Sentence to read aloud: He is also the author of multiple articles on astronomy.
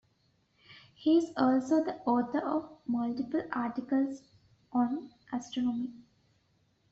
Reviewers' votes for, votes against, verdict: 2, 1, accepted